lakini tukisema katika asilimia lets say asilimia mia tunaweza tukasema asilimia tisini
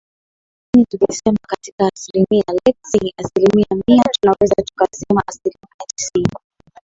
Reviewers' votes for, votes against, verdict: 2, 7, rejected